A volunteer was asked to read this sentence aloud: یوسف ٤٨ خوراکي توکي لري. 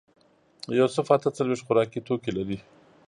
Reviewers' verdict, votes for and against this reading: rejected, 0, 2